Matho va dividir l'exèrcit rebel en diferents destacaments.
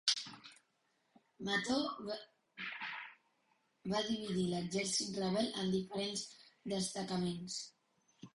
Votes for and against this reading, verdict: 0, 2, rejected